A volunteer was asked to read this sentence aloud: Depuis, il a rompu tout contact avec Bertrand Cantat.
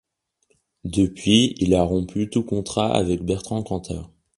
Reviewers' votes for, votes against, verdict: 0, 2, rejected